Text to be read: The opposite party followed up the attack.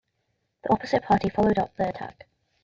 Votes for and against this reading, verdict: 2, 1, accepted